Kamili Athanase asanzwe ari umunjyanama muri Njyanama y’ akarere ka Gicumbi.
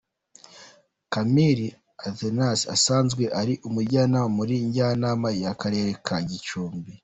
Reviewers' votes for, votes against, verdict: 2, 0, accepted